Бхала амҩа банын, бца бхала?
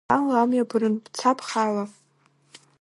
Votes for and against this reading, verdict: 0, 2, rejected